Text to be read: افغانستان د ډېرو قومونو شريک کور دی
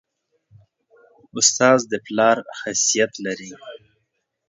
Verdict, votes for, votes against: rejected, 0, 2